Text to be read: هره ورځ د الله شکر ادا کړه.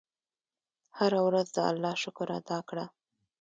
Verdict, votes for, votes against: accepted, 2, 0